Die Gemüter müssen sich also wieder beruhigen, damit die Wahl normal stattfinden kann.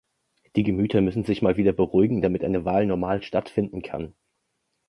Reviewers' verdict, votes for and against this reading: rejected, 0, 2